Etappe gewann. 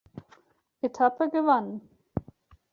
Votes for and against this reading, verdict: 2, 1, accepted